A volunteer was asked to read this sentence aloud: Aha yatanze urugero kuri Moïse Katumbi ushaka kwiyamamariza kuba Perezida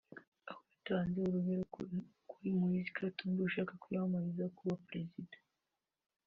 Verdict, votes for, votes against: rejected, 0, 2